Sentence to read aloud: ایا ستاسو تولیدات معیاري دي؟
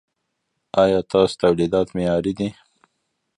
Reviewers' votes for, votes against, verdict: 2, 0, accepted